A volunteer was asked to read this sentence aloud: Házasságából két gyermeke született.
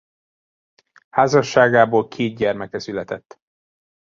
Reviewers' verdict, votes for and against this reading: accepted, 2, 0